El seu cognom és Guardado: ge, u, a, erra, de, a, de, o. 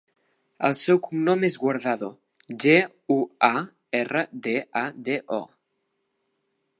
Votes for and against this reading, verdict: 2, 0, accepted